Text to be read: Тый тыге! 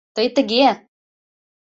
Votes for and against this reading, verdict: 2, 0, accepted